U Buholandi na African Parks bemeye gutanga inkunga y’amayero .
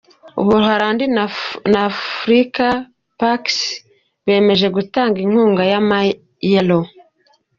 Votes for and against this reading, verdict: 1, 2, rejected